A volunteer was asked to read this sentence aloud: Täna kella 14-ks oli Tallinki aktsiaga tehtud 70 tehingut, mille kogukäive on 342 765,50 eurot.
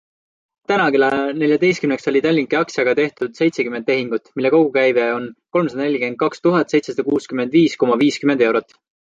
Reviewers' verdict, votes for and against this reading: rejected, 0, 2